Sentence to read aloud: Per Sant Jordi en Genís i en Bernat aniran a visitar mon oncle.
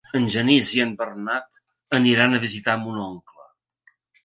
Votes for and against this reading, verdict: 1, 2, rejected